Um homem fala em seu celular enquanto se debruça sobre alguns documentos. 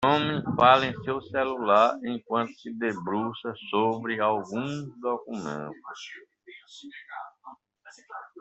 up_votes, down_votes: 0, 2